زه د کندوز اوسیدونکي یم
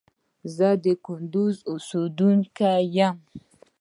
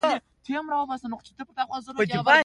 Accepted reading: second